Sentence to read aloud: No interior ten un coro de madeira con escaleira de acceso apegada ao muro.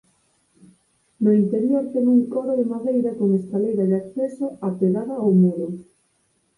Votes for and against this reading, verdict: 6, 2, accepted